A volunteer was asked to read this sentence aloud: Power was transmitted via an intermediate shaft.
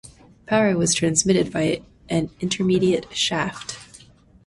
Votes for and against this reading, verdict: 2, 0, accepted